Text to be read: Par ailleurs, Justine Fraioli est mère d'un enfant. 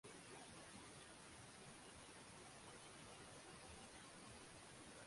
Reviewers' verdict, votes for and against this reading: rejected, 0, 2